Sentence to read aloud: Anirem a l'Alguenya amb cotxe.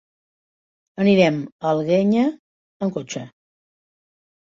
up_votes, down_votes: 1, 2